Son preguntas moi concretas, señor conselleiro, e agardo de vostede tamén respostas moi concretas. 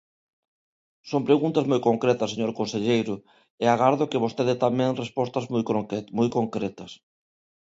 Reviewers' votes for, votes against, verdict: 0, 2, rejected